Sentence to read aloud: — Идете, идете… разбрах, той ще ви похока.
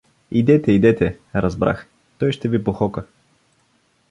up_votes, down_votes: 2, 0